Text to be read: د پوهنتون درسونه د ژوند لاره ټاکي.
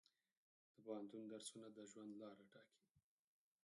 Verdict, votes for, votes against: rejected, 0, 4